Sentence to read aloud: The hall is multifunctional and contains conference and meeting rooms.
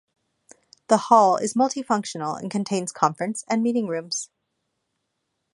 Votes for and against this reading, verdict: 2, 0, accepted